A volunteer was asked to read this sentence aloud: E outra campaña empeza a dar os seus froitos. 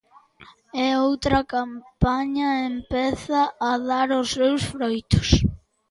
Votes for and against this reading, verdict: 3, 0, accepted